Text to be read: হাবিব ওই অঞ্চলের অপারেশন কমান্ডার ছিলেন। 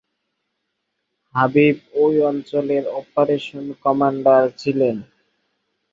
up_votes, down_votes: 0, 2